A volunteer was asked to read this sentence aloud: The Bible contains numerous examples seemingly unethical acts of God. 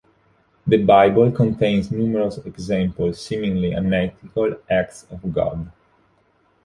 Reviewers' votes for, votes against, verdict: 2, 0, accepted